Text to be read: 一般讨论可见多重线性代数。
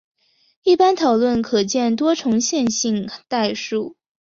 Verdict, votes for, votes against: rejected, 0, 2